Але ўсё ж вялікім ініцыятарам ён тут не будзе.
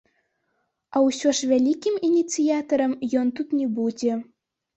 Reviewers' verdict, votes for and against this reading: rejected, 1, 2